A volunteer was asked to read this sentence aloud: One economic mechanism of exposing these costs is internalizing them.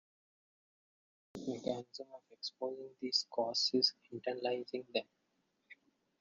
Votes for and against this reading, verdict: 0, 2, rejected